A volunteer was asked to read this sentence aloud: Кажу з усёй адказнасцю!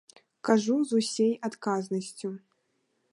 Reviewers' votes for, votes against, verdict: 0, 2, rejected